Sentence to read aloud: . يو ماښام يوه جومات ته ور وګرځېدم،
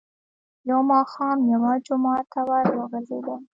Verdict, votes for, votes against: accepted, 2, 1